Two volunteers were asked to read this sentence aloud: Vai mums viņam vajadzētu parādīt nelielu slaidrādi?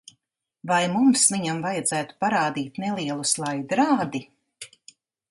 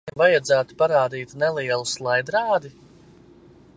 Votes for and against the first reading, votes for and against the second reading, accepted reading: 2, 0, 0, 2, first